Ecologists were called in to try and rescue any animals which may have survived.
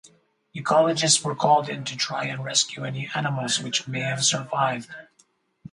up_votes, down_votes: 2, 4